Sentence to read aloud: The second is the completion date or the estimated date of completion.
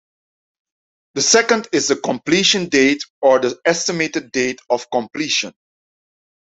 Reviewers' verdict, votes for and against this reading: accepted, 2, 0